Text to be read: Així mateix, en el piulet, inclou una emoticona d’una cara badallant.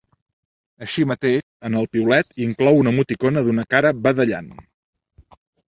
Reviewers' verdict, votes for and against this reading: rejected, 0, 2